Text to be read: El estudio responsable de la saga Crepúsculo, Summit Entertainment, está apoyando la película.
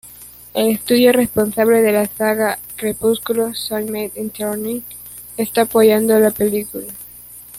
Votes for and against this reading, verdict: 2, 0, accepted